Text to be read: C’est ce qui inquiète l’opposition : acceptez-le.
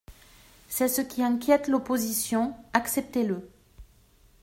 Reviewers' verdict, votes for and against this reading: accepted, 2, 0